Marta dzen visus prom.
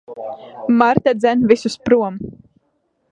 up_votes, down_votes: 2, 0